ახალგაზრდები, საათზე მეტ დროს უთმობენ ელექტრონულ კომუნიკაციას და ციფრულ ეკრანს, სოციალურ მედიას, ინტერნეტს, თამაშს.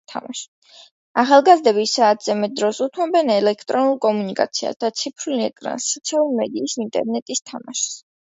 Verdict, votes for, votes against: rejected, 0, 2